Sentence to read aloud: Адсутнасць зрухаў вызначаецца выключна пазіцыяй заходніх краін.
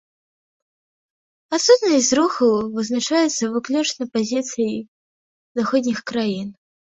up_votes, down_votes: 2, 0